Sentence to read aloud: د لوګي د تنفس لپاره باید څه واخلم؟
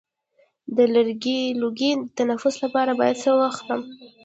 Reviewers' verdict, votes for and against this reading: accepted, 2, 0